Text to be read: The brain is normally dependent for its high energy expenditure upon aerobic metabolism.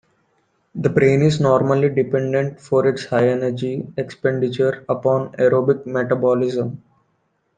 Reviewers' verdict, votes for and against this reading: accepted, 2, 1